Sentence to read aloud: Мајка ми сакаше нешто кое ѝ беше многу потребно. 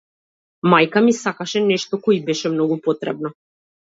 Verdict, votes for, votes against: accepted, 2, 0